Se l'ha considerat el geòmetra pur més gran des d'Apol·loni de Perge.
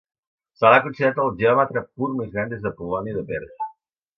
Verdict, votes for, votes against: rejected, 1, 2